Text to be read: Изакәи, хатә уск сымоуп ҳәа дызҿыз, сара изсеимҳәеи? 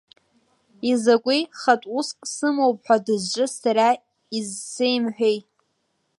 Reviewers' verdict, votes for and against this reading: accepted, 2, 0